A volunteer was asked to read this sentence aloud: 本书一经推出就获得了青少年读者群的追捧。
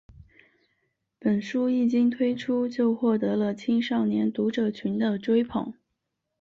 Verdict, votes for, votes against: accepted, 4, 0